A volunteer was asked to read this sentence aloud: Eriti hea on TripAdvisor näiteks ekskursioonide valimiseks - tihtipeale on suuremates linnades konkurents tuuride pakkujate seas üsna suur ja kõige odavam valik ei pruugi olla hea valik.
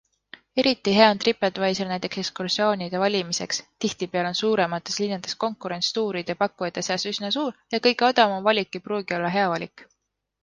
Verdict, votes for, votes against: accepted, 2, 0